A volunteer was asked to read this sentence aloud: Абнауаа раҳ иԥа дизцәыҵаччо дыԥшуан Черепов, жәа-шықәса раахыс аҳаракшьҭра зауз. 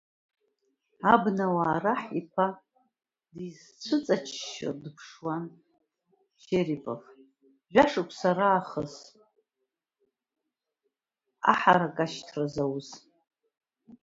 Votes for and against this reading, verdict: 0, 2, rejected